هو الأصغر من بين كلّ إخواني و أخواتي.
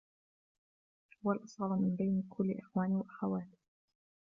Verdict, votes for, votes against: rejected, 0, 2